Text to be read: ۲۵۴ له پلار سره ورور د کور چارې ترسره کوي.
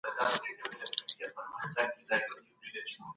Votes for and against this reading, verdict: 0, 2, rejected